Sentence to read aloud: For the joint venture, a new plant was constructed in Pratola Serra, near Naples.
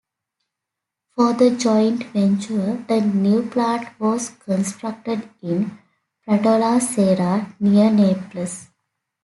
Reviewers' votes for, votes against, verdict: 2, 1, accepted